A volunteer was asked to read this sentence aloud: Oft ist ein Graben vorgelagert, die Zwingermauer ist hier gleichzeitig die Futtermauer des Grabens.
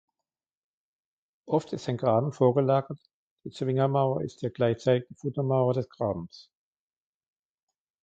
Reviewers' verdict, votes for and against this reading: rejected, 2, 3